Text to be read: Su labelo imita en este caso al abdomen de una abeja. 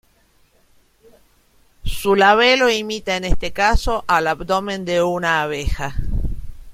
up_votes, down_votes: 2, 0